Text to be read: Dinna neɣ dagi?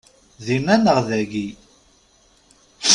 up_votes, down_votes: 2, 0